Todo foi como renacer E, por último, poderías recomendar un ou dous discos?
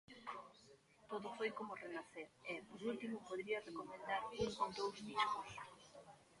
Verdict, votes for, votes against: rejected, 0, 2